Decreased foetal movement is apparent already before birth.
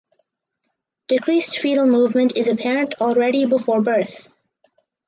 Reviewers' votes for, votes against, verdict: 2, 0, accepted